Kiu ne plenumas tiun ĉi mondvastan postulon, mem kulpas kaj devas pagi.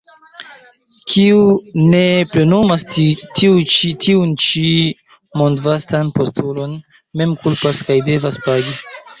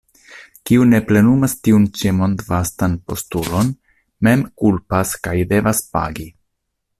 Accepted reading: second